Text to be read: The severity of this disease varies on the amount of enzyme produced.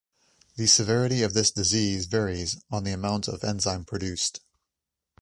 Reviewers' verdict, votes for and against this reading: accepted, 2, 0